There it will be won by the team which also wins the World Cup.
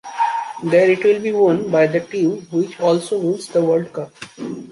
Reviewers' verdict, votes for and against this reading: accepted, 2, 0